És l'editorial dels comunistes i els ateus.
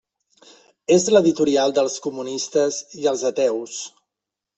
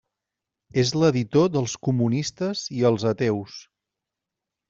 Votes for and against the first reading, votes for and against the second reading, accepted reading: 2, 0, 1, 2, first